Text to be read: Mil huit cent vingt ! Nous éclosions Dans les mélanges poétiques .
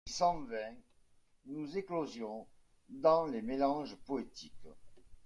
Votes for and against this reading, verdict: 0, 2, rejected